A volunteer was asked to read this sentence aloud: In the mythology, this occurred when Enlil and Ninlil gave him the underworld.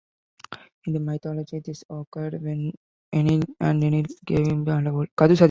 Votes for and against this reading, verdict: 0, 2, rejected